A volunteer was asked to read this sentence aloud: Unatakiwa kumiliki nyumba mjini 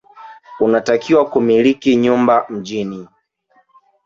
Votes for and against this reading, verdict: 0, 2, rejected